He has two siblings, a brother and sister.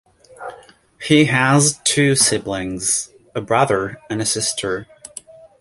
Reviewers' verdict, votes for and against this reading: accepted, 2, 0